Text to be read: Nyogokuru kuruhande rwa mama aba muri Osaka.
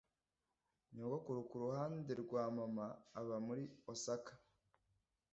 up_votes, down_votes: 2, 0